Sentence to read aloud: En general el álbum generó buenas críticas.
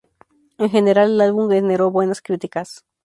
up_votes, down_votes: 0, 2